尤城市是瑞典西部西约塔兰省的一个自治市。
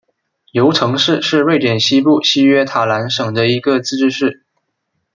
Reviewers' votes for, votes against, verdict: 2, 0, accepted